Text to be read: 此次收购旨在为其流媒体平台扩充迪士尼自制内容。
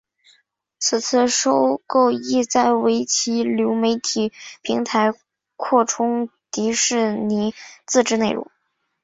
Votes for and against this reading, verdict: 0, 4, rejected